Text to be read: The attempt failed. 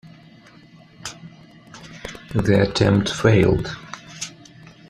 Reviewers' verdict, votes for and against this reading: accepted, 2, 0